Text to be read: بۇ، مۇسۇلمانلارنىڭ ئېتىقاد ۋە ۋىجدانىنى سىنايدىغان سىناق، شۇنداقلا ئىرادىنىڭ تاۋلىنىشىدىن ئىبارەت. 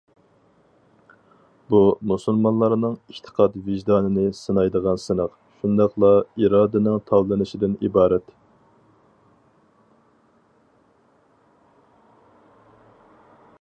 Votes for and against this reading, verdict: 0, 2, rejected